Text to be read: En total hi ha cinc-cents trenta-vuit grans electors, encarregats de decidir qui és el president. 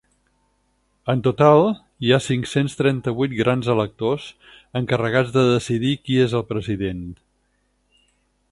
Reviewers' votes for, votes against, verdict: 8, 0, accepted